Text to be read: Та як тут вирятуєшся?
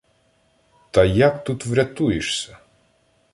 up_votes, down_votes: 1, 2